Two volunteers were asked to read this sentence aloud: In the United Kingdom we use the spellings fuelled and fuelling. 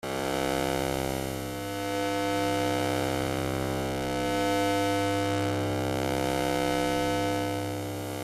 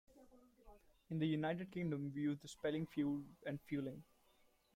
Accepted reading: second